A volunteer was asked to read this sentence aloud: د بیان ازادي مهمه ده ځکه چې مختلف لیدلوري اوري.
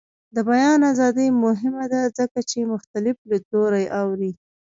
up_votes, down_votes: 1, 2